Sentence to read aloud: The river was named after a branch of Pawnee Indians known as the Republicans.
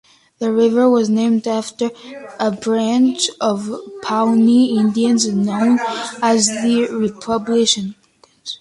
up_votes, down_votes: 1, 2